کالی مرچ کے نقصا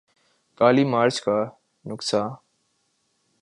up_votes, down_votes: 0, 4